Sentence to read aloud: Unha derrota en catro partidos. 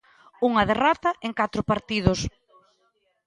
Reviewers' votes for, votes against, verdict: 2, 1, accepted